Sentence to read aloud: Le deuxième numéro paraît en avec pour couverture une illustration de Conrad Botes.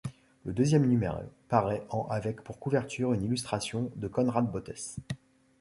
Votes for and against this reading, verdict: 1, 2, rejected